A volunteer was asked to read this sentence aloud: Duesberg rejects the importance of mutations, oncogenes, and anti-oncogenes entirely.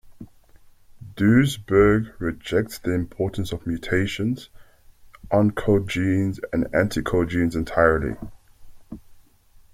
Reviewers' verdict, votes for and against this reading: rejected, 0, 2